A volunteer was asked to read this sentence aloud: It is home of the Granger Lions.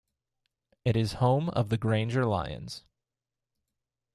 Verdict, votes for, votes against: accepted, 2, 0